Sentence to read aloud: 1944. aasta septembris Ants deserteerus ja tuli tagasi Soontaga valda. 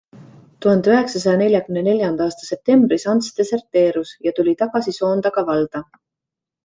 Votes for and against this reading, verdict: 0, 2, rejected